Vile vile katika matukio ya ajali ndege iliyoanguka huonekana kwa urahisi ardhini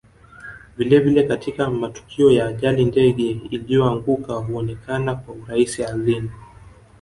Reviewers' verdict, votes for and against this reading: rejected, 1, 2